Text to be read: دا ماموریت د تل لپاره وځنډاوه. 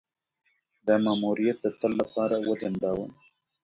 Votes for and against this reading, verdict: 2, 0, accepted